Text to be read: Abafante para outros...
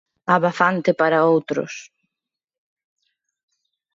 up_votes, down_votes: 2, 0